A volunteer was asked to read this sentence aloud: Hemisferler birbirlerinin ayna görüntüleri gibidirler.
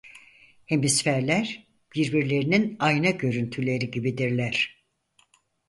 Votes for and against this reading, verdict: 4, 0, accepted